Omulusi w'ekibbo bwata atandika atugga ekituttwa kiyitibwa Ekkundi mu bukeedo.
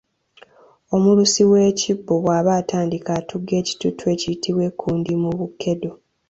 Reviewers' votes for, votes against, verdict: 1, 2, rejected